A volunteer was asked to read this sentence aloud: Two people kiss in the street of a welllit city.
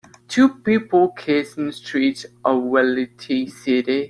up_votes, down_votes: 1, 2